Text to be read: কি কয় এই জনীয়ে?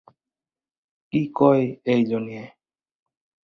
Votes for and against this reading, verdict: 4, 0, accepted